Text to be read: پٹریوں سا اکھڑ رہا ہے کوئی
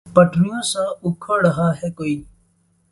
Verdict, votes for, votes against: rejected, 2, 2